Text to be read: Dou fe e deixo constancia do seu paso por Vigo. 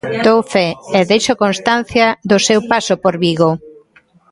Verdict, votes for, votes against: accepted, 2, 0